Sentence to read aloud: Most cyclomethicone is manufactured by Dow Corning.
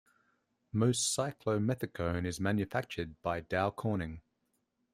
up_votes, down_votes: 2, 0